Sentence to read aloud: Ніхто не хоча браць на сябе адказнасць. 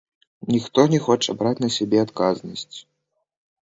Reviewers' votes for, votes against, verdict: 0, 2, rejected